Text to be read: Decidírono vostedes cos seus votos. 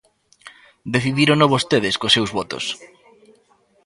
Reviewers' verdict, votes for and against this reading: rejected, 0, 2